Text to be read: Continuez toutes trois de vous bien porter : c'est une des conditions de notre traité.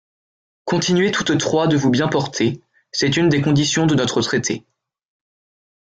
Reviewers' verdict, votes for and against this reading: accepted, 2, 0